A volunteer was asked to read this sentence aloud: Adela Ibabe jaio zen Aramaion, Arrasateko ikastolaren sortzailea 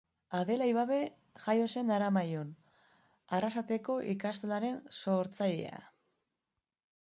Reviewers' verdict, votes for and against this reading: accepted, 2, 0